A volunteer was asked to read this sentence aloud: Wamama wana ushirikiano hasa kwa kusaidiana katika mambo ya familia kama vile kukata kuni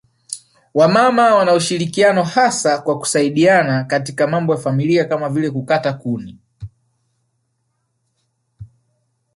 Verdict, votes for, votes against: rejected, 0, 2